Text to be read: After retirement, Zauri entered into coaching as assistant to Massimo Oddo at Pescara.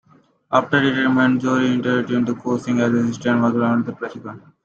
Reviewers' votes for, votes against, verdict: 0, 2, rejected